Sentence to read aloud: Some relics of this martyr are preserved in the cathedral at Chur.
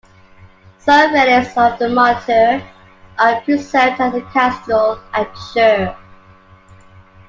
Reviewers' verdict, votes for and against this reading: rejected, 0, 2